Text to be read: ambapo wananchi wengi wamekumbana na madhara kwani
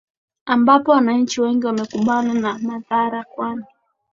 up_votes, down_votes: 9, 1